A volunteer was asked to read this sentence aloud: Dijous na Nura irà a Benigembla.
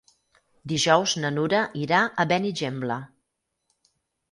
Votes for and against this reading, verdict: 6, 0, accepted